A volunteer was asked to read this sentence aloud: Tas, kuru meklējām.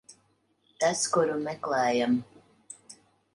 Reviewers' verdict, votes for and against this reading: rejected, 0, 2